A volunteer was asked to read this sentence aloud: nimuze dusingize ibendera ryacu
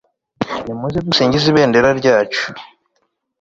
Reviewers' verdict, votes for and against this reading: accepted, 2, 0